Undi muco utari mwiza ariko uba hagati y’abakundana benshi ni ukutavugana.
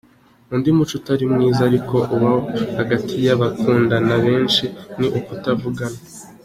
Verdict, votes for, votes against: accepted, 2, 0